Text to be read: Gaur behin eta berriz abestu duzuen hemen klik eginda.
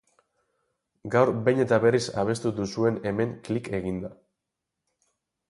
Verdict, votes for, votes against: accepted, 2, 0